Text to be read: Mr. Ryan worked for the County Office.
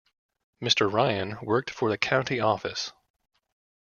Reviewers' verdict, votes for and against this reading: accepted, 2, 0